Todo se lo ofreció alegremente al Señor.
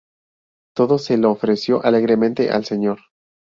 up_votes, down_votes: 0, 2